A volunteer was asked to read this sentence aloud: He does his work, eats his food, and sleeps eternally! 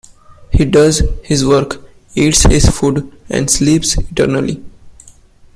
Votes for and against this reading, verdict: 2, 0, accepted